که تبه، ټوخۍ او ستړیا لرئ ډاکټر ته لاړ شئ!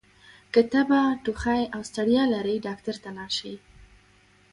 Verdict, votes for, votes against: accepted, 2, 0